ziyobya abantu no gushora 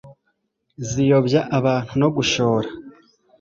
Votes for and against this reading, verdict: 2, 0, accepted